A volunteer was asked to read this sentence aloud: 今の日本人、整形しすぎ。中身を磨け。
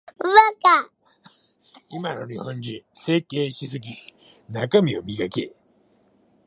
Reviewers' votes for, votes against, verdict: 0, 2, rejected